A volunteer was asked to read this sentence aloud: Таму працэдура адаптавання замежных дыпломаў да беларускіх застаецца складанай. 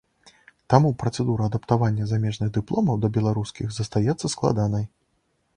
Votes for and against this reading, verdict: 2, 0, accepted